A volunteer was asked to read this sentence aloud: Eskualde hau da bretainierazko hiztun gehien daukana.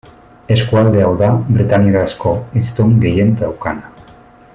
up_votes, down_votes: 2, 0